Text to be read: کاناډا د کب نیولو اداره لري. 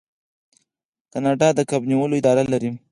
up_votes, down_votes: 4, 0